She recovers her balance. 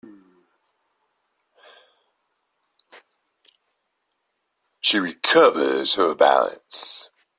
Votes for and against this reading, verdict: 2, 0, accepted